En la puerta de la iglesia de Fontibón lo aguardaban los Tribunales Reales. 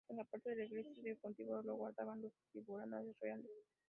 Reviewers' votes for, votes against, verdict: 1, 2, rejected